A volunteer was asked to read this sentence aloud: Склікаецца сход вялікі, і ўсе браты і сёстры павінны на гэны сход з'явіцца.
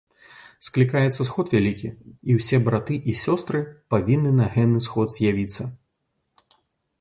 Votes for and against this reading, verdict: 2, 0, accepted